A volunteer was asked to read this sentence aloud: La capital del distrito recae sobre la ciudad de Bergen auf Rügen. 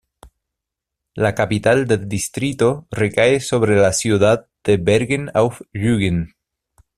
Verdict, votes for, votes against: accepted, 2, 0